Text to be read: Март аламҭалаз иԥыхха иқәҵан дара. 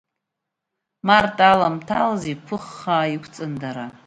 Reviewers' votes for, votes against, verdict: 2, 0, accepted